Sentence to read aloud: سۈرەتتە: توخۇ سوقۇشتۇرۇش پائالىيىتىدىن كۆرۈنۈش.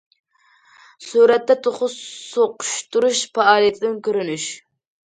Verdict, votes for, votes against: accepted, 2, 0